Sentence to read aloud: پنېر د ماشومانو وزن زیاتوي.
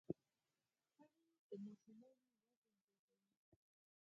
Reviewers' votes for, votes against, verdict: 2, 4, rejected